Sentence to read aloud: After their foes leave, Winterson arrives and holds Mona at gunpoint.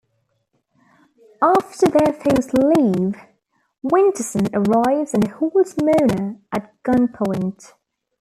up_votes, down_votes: 0, 2